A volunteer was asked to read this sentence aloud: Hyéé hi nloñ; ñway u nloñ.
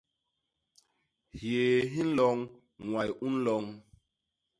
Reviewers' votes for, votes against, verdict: 2, 0, accepted